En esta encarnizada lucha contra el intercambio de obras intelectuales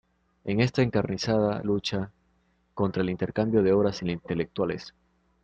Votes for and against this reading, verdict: 0, 2, rejected